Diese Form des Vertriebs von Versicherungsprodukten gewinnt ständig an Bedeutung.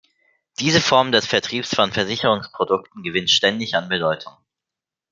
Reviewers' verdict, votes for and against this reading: accepted, 2, 0